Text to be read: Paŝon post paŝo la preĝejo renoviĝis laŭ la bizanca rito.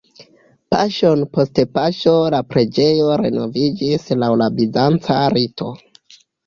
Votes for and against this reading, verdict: 2, 1, accepted